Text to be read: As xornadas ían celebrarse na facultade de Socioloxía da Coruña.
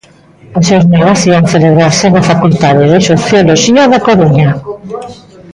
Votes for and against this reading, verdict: 1, 2, rejected